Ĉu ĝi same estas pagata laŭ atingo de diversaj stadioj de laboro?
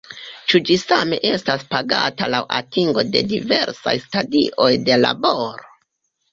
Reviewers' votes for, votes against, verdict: 1, 2, rejected